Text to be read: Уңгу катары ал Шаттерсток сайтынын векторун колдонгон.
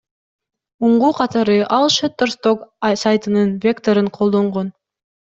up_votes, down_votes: 1, 2